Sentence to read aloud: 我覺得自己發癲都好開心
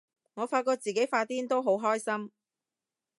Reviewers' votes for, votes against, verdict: 1, 2, rejected